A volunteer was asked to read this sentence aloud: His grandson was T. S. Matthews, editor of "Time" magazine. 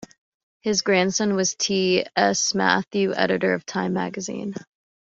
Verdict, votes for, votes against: accepted, 2, 1